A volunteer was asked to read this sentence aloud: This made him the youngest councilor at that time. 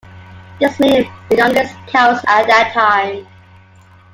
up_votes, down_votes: 1, 2